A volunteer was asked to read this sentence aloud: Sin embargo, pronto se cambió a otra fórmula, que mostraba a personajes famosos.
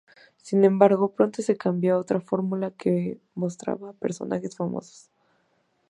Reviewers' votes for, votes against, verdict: 4, 0, accepted